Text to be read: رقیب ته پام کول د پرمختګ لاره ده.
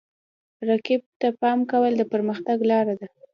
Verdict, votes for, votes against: accepted, 2, 0